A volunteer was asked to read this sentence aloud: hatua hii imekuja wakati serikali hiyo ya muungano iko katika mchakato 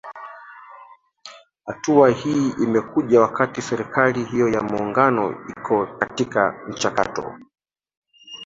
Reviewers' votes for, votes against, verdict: 1, 2, rejected